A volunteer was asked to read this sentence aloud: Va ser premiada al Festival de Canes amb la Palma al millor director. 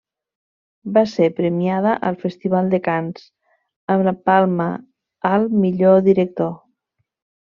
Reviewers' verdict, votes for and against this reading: rejected, 1, 2